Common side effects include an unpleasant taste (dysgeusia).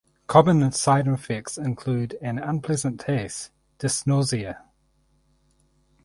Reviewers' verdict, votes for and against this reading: rejected, 0, 2